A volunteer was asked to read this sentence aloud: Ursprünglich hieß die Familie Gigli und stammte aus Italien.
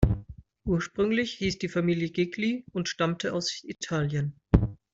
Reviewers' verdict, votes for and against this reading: accepted, 2, 0